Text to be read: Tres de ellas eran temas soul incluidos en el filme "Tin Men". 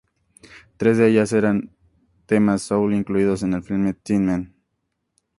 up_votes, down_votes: 2, 0